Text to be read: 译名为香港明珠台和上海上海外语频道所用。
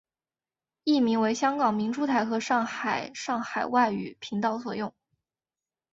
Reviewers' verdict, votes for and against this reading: accepted, 2, 1